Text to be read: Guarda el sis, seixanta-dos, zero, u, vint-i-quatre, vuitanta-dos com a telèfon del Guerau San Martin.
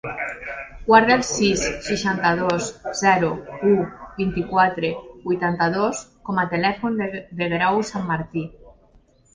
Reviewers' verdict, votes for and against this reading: rejected, 1, 2